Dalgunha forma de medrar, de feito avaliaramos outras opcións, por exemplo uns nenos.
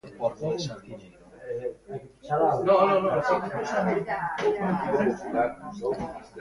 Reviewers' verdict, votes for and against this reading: rejected, 0, 2